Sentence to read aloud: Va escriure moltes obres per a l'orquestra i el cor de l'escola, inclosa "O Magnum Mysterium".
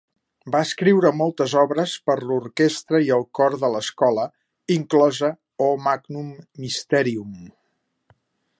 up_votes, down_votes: 0, 2